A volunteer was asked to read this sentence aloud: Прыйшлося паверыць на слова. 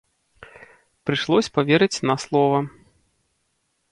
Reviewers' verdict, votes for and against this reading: rejected, 0, 2